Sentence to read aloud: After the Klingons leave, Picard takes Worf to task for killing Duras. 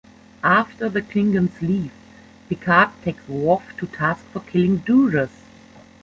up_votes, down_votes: 1, 2